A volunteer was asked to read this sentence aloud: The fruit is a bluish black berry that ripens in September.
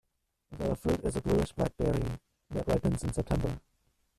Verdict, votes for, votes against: rejected, 0, 2